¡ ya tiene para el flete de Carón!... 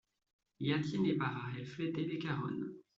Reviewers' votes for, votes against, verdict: 2, 1, accepted